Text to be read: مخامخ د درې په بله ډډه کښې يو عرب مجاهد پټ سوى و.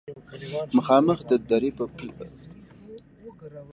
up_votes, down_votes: 0, 2